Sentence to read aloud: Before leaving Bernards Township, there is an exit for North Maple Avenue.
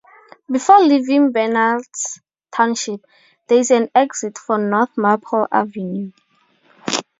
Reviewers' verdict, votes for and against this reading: accepted, 2, 0